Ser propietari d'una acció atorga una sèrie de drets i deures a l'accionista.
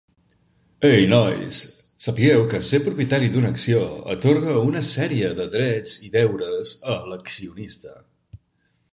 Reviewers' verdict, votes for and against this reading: rejected, 1, 2